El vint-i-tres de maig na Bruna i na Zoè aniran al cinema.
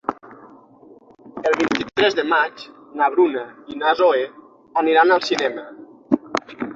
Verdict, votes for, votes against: rejected, 3, 6